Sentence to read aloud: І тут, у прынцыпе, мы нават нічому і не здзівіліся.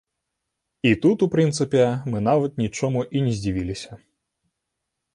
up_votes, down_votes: 3, 0